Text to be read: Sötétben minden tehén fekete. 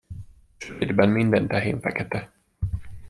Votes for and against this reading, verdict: 0, 2, rejected